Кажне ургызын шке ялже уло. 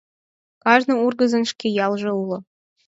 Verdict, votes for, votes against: accepted, 4, 0